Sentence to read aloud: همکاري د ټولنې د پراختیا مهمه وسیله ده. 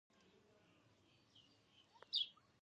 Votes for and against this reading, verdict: 1, 2, rejected